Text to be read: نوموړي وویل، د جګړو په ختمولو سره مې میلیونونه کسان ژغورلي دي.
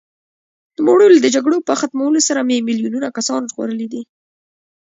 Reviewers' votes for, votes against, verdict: 2, 1, accepted